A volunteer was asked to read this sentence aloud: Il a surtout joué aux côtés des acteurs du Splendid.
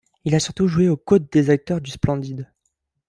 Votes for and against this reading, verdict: 0, 2, rejected